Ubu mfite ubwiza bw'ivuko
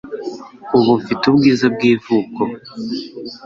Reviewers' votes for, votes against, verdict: 2, 0, accepted